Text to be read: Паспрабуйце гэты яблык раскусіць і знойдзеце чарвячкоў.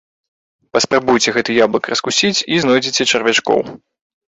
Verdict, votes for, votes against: rejected, 0, 2